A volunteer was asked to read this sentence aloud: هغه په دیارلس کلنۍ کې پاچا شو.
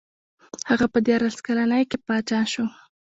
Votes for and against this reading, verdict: 1, 2, rejected